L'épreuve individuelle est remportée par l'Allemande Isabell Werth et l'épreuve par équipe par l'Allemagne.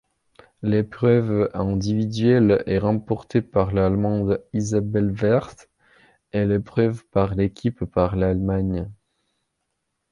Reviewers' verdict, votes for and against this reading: rejected, 0, 2